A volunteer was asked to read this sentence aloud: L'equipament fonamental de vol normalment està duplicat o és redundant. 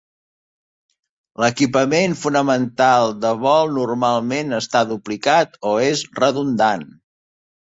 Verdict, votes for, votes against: accepted, 2, 0